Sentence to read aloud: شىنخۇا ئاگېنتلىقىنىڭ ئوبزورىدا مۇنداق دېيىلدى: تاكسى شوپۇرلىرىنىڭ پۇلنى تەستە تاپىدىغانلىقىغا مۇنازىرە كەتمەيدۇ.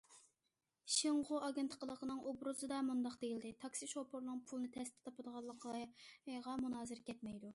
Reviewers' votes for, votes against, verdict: 1, 2, rejected